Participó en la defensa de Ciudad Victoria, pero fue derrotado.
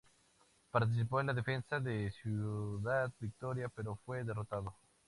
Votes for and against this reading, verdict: 2, 0, accepted